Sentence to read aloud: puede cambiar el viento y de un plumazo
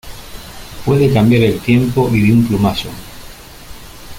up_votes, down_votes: 0, 2